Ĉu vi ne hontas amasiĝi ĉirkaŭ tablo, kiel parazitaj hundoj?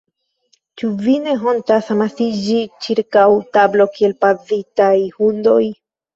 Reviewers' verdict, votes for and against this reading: rejected, 0, 3